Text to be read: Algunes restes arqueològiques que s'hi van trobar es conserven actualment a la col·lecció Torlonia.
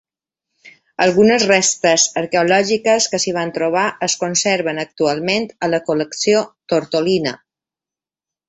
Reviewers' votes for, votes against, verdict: 0, 2, rejected